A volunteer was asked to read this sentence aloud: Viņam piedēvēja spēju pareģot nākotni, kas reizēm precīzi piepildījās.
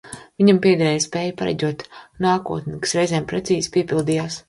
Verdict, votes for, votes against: accepted, 2, 0